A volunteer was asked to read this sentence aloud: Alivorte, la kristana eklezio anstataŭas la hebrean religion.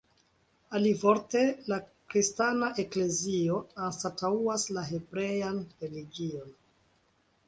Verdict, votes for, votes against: accepted, 2, 0